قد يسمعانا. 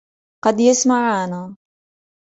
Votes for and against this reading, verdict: 2, 0, accepted